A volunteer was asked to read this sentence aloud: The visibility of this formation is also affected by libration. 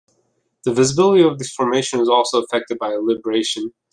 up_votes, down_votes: 2, 0